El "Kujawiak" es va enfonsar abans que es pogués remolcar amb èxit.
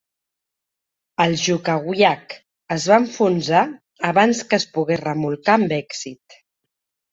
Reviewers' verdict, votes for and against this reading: rejected, 0, 2